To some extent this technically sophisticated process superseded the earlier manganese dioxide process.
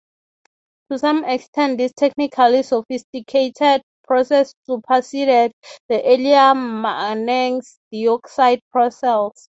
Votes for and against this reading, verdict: 3, 18, rejected